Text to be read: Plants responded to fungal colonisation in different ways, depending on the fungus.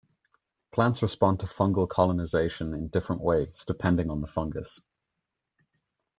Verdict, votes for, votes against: accepted, 2, 0